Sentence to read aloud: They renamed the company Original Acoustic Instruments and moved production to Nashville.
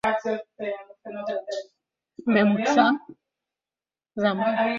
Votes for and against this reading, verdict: 0, 2, rejected